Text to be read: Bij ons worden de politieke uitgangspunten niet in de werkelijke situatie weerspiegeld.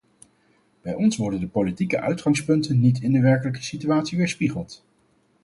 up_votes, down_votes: 4, 0